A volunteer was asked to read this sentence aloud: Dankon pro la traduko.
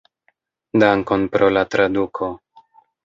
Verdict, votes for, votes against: accepted, 2, 0